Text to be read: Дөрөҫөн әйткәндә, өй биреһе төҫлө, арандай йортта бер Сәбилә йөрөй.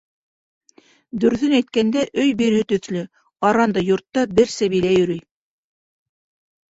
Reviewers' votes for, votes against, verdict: 0, 2, rejected